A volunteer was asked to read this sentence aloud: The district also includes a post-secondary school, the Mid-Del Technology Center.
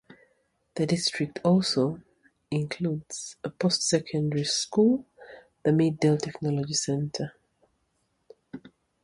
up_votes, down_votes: 0, 2